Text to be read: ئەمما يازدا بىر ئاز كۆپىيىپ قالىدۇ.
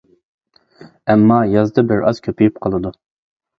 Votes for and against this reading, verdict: 2, 0, accepted